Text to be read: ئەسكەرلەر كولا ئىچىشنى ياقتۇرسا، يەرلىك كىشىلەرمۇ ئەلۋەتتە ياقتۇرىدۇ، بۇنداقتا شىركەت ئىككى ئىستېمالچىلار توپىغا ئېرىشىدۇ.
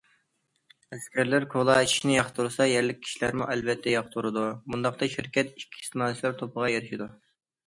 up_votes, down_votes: 2, 1